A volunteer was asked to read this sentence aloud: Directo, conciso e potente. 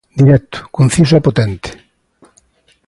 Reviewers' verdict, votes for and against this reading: accepted, 2, 1